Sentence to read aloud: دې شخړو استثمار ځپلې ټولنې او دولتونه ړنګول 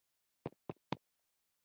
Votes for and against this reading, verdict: 0, 2, rejected